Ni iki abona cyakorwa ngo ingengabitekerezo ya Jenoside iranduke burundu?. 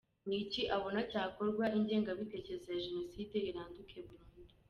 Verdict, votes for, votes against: rejected, 1, 2